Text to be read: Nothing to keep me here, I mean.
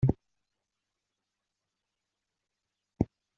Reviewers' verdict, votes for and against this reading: rejected, 0, 2